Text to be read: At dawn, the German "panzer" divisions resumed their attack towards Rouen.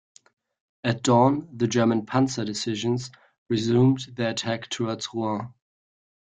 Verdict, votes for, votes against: rejected, 0, 2